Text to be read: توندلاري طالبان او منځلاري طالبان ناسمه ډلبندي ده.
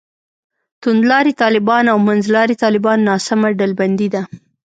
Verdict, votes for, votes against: accepted, 2, 0